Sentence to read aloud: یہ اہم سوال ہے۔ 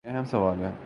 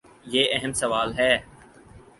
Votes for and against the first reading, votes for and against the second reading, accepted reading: 1, 2, 4, 0, second